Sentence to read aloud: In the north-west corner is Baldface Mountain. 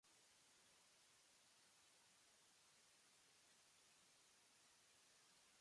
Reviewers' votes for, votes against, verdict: 1, 2, rejected